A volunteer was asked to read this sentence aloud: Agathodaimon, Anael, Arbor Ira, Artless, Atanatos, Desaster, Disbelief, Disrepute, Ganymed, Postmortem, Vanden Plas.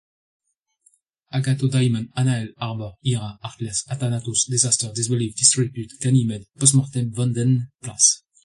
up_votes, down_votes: 2, 0